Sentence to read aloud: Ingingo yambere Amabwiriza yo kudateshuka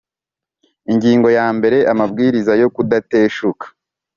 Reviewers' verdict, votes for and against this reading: accepted, 3, 0